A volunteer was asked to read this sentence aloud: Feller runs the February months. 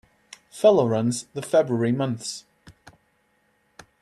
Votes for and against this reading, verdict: 2, 0, accepted